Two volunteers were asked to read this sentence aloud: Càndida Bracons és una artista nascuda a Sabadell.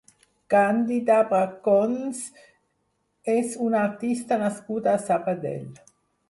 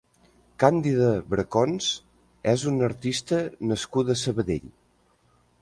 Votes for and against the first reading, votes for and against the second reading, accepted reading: 2, 4, 3, 0, second